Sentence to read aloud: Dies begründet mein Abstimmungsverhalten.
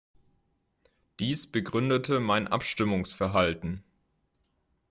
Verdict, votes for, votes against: rejected, 0, 2